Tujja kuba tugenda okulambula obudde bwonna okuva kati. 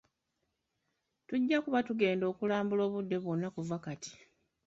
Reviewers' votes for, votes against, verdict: 1, 2, rejected